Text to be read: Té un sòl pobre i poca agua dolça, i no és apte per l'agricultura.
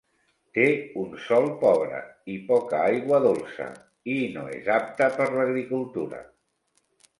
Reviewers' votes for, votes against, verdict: 3, 2, accepted